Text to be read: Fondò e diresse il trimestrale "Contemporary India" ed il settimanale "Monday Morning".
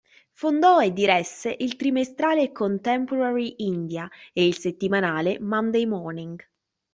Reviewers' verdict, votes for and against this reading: rejected, 1, 2